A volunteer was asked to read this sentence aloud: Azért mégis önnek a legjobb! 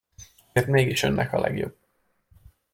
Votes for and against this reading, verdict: 0, 2, rejected